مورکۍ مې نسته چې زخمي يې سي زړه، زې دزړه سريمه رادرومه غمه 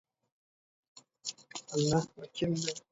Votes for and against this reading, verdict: 0, 2, rejected